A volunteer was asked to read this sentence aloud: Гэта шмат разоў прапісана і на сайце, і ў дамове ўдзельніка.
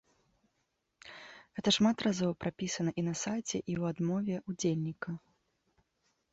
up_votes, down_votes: 0, 2